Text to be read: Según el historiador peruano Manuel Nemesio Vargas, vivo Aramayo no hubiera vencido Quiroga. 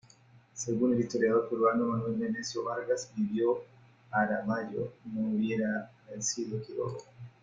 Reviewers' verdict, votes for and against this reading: rejected, 1, 2